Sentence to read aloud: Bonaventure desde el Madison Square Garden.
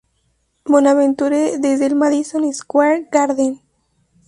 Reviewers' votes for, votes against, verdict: 0, 2, rejected